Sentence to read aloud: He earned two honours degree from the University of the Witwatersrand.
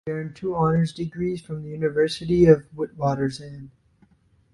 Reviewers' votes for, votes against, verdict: 0, 2, rejected